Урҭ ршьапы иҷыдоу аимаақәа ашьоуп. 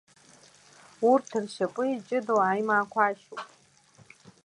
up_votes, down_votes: 1, 2